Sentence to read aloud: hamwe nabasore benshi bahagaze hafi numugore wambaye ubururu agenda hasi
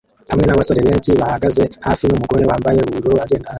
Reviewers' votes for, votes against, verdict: 0, 2, rejected